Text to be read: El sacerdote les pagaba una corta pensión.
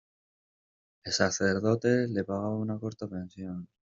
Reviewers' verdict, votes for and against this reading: rejected, 0, 2